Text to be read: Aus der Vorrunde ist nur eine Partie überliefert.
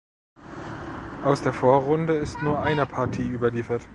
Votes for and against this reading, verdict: 1, 2, rejected